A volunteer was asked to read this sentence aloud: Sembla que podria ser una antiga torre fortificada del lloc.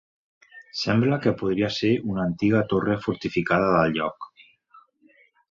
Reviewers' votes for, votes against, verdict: 2, 0, accepted